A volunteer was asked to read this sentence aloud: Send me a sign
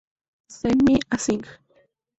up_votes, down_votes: 4, 0